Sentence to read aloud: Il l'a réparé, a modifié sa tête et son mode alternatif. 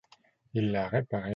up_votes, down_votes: 0, 3